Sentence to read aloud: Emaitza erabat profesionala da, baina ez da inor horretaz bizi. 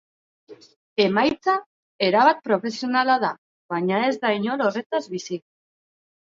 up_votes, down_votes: 4, 0